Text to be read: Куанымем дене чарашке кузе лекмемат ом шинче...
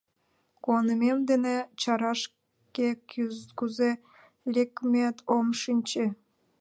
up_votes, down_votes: 0, 2